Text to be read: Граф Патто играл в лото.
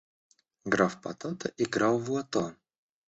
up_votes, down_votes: 0, 2